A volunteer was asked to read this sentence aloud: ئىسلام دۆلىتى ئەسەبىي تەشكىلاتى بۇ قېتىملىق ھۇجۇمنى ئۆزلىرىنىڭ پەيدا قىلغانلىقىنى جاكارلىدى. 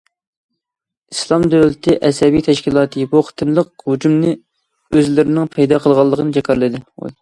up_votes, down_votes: 2, 0